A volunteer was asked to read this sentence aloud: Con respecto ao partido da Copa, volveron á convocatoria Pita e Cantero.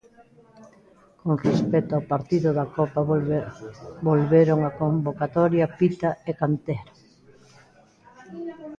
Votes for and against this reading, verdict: 0, 2, rejected